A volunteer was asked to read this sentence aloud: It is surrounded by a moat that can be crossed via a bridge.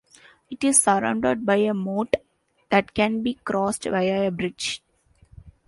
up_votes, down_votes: 2, 1